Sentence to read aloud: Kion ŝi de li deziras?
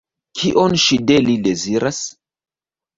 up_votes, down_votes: 0, 2